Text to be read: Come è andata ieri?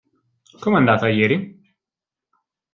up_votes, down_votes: 2, 0